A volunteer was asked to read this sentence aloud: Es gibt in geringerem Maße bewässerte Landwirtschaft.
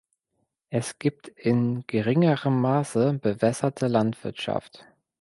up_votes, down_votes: 2, 0